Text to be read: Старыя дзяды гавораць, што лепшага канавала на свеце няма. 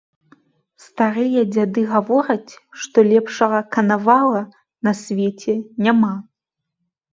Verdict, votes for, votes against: accepted, 2, 0